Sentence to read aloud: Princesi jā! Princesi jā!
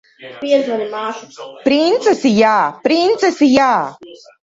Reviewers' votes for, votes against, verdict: 0, 2, rejected